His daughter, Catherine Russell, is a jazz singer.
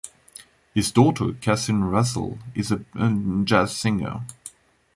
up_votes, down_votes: 1, 2